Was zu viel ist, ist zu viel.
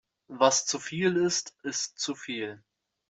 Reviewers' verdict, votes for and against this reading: accepted, 2, 0